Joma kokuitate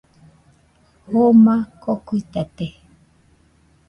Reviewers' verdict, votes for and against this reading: accepted, 2, 0